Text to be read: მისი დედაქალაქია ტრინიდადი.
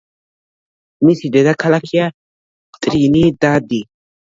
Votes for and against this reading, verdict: 1, 2, rejected